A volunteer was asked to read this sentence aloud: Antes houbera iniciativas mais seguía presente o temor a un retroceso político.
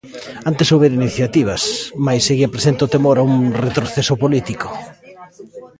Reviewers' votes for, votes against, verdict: 1, 2, rejected